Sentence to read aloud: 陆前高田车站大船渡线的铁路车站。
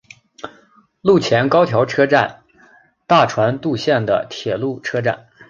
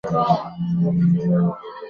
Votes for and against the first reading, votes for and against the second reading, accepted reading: 3, 0, 1, 2, first